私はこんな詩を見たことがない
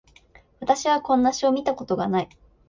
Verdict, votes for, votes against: accepted, 2, 0